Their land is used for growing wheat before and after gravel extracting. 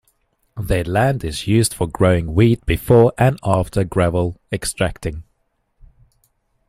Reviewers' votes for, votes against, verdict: 2, 0, accepted